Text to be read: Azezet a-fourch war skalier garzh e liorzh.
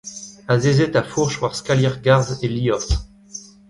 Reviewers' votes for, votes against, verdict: 2, 1, accepted